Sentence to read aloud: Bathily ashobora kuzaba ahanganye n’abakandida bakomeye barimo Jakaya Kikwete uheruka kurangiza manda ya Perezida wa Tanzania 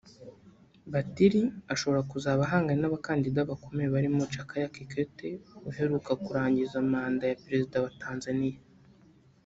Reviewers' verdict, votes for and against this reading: rejected, 0, 3